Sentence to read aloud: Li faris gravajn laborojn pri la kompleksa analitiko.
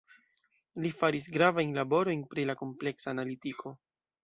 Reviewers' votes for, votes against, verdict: 2, 0, accepted